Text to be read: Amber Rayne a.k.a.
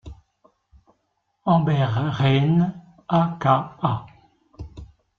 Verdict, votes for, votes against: accepted, 3, 0